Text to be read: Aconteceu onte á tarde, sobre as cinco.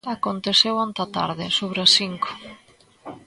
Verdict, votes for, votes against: accepted, 2, 0